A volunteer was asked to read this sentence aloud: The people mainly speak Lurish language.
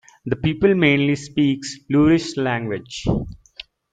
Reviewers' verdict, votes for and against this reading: accepted, 2, 0